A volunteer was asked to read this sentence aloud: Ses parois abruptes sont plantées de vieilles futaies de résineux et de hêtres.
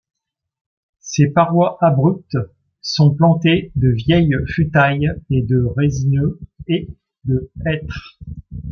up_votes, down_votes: 1, 2